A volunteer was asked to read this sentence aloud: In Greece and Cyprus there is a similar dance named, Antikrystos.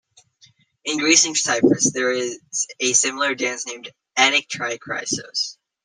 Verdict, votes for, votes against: rejected, 0, 2